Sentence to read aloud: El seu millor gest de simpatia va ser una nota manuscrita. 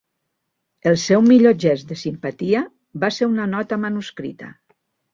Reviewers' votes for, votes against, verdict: 2, 0, accepted